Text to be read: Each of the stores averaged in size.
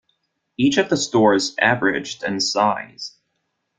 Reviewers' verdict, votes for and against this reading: rejected, 1, 2